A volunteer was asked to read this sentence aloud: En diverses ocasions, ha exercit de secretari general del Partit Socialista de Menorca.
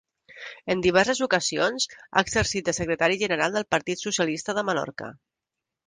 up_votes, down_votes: 3, 0